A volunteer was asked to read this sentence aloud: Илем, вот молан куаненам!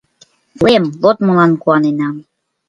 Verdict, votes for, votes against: rejected, 1, 2